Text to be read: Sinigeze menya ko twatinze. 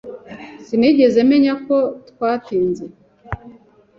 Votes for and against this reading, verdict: 2, 0, accepted